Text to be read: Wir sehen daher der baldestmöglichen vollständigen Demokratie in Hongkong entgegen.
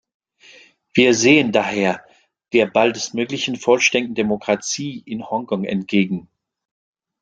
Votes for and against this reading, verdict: 0, 2, rejected